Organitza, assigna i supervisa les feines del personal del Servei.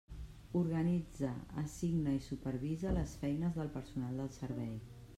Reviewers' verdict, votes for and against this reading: accepted, 3, 0